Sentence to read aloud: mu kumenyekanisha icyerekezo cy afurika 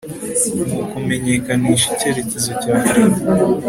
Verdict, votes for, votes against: accepted, 2, 0